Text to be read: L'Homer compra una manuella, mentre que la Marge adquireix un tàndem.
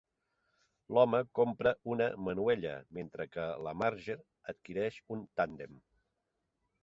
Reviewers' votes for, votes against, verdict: 1, 2, rejected